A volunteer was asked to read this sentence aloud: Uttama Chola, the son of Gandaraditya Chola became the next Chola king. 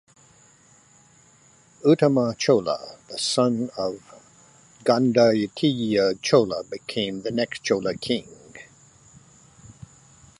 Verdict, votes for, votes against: accepted, 2, 1